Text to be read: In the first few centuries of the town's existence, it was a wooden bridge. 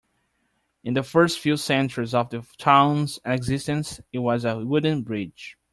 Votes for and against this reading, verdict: 2, 0, accepted